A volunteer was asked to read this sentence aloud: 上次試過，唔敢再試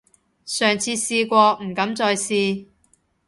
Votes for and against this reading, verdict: 3, 0, accepted